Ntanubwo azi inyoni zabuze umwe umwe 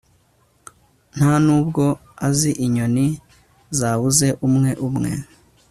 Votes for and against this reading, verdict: 2, 0, accepted